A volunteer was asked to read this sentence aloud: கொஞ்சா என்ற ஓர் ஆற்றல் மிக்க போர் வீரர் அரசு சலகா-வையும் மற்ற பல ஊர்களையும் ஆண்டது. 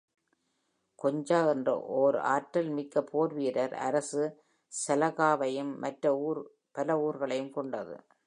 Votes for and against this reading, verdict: 2, 3, rejected